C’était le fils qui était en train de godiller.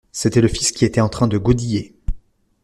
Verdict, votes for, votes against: accepted, 2, 0